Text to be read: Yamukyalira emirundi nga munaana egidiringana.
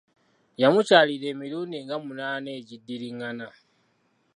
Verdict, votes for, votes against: accepted, 2, 0